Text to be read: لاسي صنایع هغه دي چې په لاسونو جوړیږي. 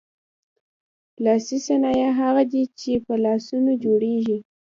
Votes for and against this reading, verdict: 2, 0, accepted